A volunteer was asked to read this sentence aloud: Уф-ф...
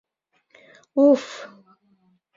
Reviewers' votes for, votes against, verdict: 2, 0, accepted